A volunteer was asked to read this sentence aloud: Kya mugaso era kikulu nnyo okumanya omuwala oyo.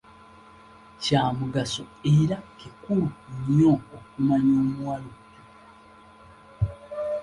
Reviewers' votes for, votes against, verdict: 1, 2, rejected